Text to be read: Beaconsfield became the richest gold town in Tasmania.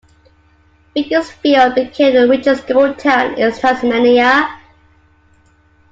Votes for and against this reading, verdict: 2, 1, accepted